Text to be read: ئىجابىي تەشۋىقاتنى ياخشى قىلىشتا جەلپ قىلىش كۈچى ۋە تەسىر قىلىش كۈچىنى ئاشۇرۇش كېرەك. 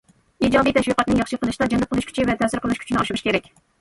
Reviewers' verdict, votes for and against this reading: accepted, 2, 0